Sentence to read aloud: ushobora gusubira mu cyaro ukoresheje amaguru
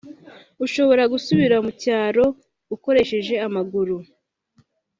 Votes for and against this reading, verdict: 3, 0, accepted